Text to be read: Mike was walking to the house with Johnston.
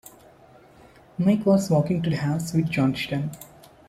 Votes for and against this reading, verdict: 1, 2, rejected